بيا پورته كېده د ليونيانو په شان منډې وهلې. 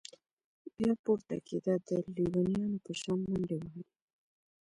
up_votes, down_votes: 2, 0